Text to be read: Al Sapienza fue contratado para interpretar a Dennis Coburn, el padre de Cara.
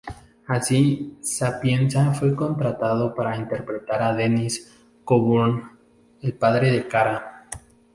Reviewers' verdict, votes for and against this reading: rejected, 0, 2